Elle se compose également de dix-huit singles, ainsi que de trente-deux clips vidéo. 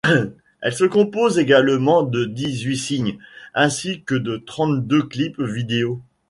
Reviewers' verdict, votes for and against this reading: rejected, 1, 2